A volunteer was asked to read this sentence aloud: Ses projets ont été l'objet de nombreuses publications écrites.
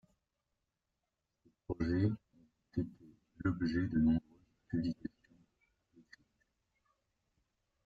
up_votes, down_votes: 0, 2